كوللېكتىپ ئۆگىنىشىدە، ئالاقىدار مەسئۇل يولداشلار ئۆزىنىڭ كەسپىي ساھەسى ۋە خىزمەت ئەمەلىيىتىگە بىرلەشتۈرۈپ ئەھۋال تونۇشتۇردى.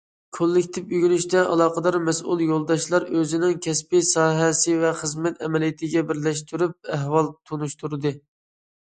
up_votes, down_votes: 2, 0